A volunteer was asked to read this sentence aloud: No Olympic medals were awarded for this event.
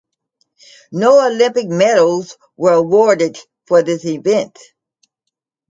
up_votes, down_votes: 2, 0